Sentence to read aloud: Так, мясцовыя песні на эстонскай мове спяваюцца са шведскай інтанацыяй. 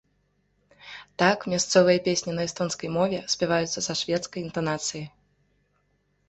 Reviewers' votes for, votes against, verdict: 2, 0, accepted